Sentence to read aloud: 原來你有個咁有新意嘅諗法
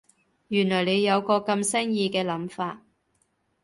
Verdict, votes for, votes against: rejected, 1, 2